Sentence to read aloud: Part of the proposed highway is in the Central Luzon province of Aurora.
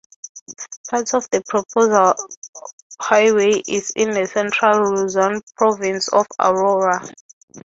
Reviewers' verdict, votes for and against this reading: rejected, 0, 6